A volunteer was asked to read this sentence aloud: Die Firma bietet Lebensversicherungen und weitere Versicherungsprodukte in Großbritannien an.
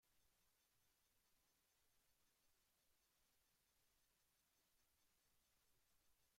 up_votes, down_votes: 0, 2